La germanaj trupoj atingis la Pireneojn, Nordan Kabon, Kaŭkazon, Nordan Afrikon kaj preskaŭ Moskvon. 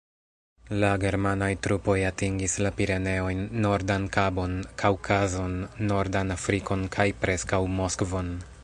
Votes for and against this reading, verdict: 0, 2, rejected